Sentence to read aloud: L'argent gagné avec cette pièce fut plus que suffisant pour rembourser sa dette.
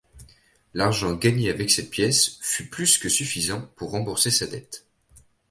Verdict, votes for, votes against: rejected, 1, 2